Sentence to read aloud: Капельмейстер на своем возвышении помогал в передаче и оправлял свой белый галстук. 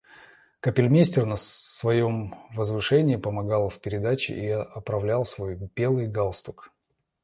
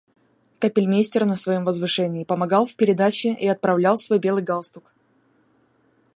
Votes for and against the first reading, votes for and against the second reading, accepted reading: 0, 2, 2, 0, second